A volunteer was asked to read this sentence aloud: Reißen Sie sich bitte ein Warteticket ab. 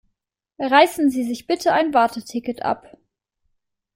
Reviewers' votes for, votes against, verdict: 2, 0, accepted